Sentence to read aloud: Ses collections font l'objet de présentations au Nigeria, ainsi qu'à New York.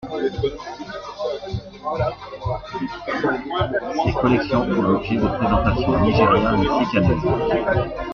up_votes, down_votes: 2, 0